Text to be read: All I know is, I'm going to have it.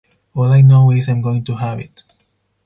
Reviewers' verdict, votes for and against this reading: accepted, 4, 0